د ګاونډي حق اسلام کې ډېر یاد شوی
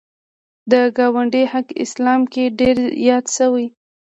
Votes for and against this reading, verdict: 2, 0, accepted